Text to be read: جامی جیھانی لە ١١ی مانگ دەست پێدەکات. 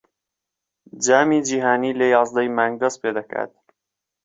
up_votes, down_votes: 0, 2